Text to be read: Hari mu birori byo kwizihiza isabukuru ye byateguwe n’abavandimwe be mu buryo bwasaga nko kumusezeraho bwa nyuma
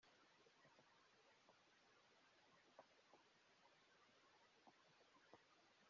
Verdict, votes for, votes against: rejected, 1, 2